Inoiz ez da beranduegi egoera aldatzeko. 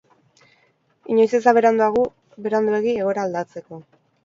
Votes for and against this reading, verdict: 2, 4, rejected